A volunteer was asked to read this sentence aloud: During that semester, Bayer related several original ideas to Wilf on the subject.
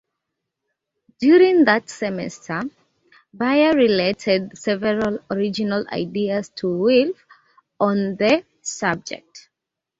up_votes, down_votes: 2, 0